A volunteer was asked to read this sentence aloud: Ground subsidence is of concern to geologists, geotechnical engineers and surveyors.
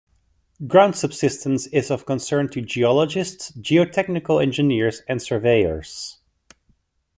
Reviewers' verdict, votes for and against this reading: accepted, 2, 0